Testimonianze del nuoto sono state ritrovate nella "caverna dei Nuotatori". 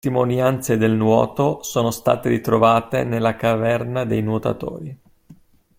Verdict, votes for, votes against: rejected, 1, 2